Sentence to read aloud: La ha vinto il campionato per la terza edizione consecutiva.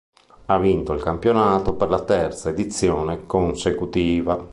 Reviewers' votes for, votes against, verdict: 2, 1, accepted